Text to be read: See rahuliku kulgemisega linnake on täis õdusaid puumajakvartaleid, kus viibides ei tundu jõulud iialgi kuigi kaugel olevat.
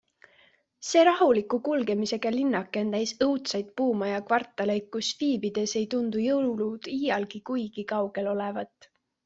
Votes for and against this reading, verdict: 0, 2, rejected